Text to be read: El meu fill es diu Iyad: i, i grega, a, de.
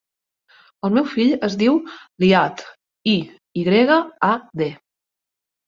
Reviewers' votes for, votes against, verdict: 0, 2, rejected